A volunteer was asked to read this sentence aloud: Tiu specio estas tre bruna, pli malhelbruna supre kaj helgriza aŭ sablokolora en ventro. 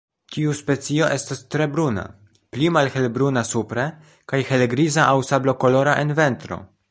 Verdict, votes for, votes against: rejected, 1, 2